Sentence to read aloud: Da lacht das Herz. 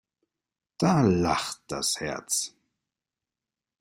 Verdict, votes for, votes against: accepted, 2, 0